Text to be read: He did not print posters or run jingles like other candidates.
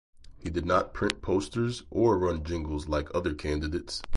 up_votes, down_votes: 4, 0